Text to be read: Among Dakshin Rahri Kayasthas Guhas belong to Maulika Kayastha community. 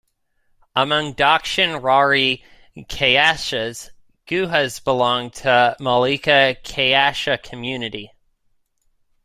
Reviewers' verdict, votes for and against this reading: rejected, 0, 2